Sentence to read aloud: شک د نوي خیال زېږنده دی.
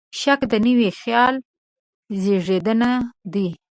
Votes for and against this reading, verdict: 1, 2, rejected